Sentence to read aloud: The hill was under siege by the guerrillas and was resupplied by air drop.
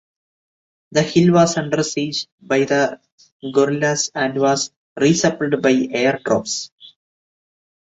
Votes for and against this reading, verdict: 0, 2, rejected